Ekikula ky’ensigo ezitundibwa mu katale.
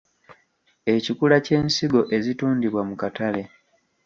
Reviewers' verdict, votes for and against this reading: rejected, 1, 2